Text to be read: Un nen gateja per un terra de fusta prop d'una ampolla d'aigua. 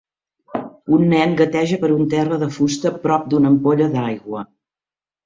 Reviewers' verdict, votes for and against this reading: accepted, 4, 0